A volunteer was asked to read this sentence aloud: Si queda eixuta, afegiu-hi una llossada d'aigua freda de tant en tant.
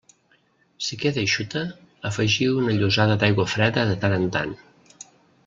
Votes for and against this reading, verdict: 1, 2, rejected